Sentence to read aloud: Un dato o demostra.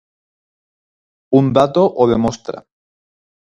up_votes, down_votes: 4, 0